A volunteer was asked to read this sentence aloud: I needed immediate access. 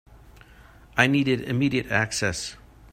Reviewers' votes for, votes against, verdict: 2, 0, accepted